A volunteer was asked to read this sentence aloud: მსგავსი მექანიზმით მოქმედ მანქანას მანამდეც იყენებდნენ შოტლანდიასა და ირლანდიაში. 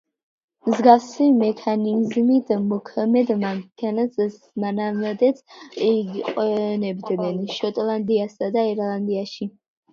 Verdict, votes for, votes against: rejected, 1, 2